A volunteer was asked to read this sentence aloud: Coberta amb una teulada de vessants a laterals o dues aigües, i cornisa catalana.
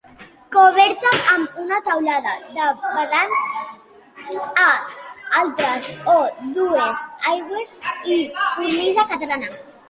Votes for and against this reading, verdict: 0, 2, rejected